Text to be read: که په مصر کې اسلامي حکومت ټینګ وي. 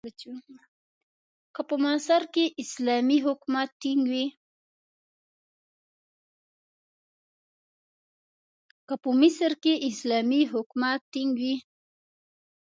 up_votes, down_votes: 0, 2